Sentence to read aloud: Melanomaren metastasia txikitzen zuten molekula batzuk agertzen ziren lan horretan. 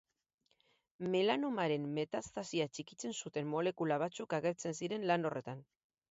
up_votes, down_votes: 8, 0